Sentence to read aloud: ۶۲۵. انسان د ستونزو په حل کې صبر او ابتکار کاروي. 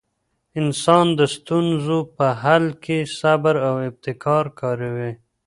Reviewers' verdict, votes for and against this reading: rejected, 0, 2